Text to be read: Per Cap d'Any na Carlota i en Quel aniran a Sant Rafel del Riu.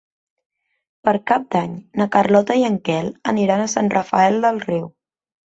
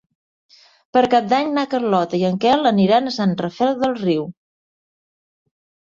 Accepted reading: second